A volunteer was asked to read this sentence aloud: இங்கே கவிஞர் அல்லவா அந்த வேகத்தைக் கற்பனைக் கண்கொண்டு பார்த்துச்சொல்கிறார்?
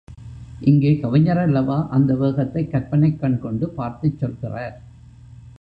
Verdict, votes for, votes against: accepted, 3, 2